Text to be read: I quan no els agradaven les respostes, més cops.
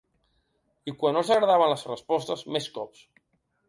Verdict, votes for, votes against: accepted, 2, 0